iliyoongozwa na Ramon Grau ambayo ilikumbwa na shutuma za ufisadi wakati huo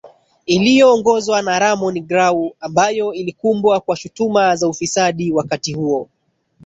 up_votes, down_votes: 1, 2